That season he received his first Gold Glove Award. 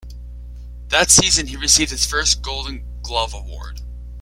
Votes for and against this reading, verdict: 1, 2, rejected